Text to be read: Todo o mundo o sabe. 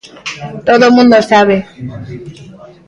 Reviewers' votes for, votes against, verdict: 2, 0, accepted